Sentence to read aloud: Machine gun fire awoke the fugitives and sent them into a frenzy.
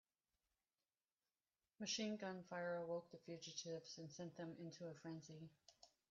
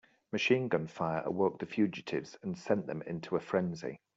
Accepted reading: second